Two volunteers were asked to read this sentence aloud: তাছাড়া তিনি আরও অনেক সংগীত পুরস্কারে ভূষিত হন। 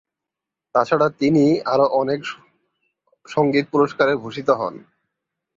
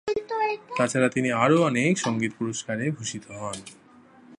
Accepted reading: second